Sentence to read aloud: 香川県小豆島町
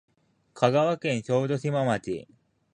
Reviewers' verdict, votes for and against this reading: accepted, 2, 1